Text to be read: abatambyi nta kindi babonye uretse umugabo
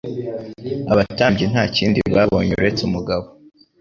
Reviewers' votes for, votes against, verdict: 2, 0, accepted